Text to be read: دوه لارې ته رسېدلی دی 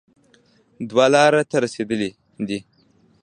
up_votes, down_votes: 0, 2